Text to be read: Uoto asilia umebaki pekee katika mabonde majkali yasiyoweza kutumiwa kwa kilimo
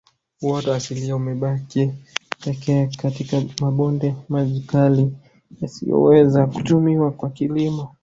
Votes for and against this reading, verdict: 1, 2, rejected